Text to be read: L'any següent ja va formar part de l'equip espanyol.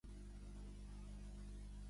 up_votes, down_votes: 1, 2